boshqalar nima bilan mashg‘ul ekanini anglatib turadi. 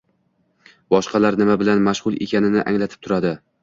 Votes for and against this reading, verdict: 2, 0, accepted